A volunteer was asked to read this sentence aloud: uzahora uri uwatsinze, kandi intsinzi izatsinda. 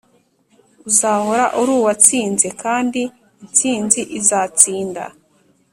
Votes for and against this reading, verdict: 2, 0, accepted